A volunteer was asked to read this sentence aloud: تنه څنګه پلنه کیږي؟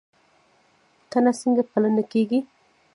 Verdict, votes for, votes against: rejected, 1, 2